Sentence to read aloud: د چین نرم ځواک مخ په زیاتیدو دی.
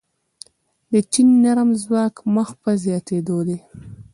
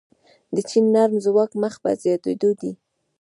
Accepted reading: first